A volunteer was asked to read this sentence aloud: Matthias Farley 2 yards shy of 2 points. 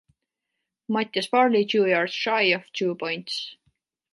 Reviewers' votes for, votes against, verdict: 0, 2, rejected